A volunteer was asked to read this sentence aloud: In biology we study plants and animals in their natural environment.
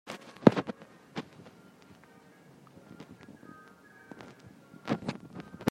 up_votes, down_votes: 0, 2